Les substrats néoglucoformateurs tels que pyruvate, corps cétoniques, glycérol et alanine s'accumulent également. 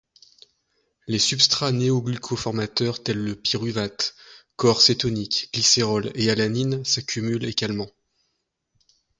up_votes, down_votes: 1, 2